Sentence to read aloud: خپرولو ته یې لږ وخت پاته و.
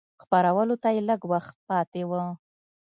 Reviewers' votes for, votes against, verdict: 2, 0, accepted